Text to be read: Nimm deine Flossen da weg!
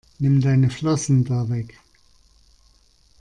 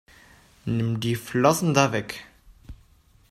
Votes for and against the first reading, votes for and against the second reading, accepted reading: 2, 0, 0, 2, first